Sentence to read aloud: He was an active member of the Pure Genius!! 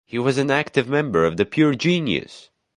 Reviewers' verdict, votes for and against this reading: accepted, 2, 0